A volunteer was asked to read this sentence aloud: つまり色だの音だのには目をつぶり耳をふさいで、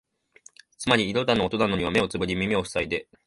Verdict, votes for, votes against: accepted, 2, 1